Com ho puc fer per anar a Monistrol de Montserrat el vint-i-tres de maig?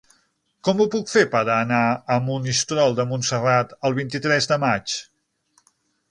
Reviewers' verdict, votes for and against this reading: accepted, 9, 0